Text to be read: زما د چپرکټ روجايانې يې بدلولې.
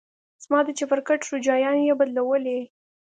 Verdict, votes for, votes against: accepted, 2, 0